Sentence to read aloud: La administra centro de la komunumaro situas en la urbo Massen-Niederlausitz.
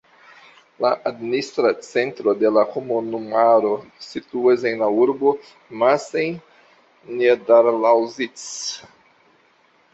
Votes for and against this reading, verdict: 2, 0, accepted